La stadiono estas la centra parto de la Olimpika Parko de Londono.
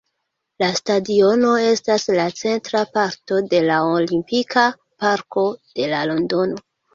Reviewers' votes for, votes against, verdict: 1, 2, rejected